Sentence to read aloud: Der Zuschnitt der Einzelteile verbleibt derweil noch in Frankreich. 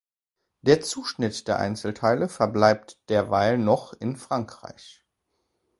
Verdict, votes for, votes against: accepted, 2, 0